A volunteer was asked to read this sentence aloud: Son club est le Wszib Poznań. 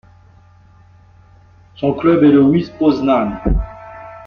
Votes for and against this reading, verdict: 1, 2, rejected